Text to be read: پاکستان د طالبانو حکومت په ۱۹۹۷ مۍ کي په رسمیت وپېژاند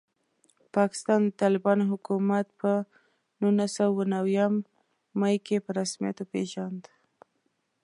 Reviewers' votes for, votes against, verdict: 0, 2, rejected